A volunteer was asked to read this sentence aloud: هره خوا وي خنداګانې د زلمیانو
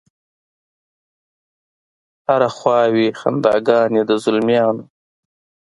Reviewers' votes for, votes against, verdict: 2, 0, accepted